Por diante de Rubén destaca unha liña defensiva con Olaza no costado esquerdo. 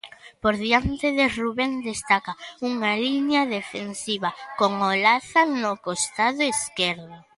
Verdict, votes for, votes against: accepted, 3, 0